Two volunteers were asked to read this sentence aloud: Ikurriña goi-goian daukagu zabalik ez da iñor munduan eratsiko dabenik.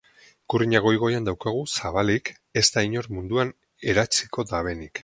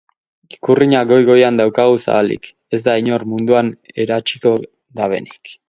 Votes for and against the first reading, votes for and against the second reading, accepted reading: 2, 0, 2, 2, first